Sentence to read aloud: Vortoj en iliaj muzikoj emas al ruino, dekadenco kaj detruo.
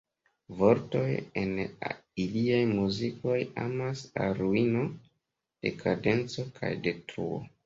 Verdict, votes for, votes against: rejected, 1, 2